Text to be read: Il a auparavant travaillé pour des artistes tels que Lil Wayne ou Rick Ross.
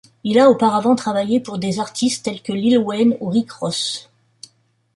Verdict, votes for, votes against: accepted, 2, 0